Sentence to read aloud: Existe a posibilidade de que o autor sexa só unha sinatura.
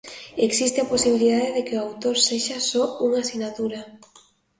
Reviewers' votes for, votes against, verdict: 2, 0, accepted